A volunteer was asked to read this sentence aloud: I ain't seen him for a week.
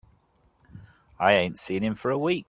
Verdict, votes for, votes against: accepted, 3, 0